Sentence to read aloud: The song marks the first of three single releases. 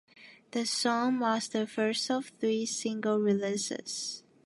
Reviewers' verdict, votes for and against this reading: accepted, 2, 1